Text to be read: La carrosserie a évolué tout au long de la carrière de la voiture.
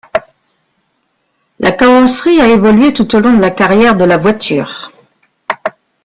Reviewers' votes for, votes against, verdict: 2, 0, accepted